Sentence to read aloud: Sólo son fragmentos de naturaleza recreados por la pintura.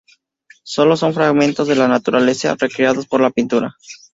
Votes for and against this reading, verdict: 2, 0, accepted